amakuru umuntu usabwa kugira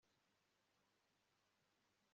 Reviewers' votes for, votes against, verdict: 0, 2, rejected